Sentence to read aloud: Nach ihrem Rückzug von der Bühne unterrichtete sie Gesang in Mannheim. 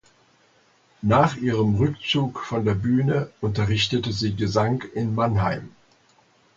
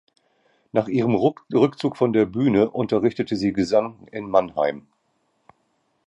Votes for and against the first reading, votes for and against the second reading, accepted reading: 2, 0, 0, 2, first